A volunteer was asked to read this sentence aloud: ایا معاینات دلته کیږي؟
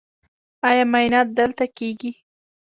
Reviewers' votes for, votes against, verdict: 1, 2, rejected